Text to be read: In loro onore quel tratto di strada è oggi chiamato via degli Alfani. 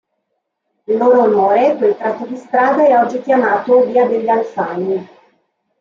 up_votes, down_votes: 2, 1